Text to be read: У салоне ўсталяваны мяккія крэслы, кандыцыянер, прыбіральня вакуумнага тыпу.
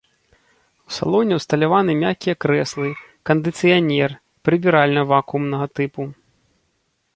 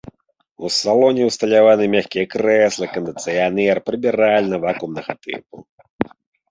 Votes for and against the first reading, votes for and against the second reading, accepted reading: 2, 0, 0, 2, first